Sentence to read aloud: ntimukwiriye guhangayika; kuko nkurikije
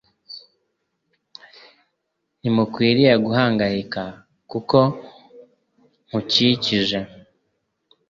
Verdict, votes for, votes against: rejected, 0, 2